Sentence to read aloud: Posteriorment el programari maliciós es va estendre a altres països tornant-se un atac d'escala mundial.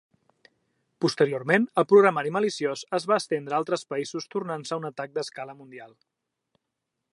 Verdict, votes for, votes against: accepted, 3, 0